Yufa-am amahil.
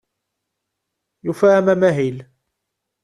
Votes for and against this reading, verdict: 2, 1, accepted